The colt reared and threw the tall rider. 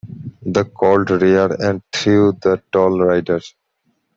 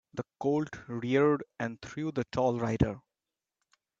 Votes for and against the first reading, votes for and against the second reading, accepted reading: 1, 2, 2, 0, second